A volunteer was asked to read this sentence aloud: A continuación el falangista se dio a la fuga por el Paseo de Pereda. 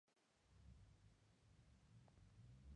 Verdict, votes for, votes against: rejected, 0, 2